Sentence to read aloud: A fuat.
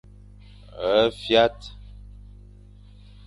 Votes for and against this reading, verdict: 2, 0, accepted